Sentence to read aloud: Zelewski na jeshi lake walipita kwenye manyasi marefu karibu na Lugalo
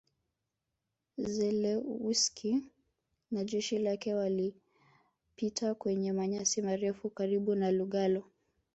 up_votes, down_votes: 1, 2